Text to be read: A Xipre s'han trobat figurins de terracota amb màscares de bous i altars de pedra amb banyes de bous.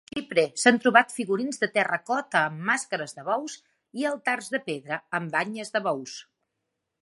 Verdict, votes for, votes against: accepted, 3, 2